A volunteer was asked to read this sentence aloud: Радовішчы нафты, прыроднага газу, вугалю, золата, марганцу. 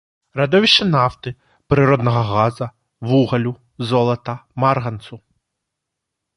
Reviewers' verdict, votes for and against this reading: rejected, 0, 2